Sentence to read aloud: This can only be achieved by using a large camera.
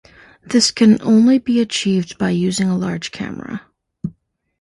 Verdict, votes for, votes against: accepted, 2, 0